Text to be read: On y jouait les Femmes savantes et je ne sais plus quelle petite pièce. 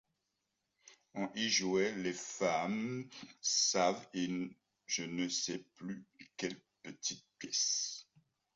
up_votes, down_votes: 2, 1